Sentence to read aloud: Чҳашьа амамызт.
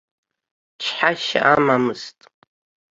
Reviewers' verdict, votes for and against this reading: accepted, 2, 0